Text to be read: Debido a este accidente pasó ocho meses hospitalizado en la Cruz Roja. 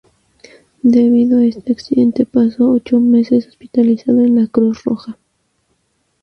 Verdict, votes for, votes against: accepted, 2, 0